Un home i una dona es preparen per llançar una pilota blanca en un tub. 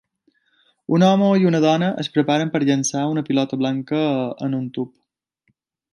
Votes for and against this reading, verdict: 2, 0, accepted